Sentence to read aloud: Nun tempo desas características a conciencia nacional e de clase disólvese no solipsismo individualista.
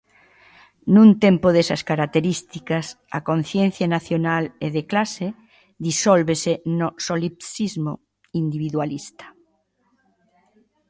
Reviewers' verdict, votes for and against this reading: accepted, 2, 0